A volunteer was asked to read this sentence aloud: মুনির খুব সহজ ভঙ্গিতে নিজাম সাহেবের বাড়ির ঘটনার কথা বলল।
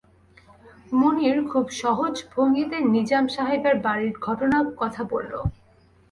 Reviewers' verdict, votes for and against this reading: rejected, 0, 2